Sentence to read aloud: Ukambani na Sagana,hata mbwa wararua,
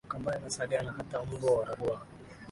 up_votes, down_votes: 0, 2